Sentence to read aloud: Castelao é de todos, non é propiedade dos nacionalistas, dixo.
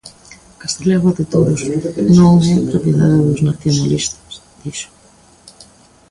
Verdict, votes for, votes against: rejected, 0, 2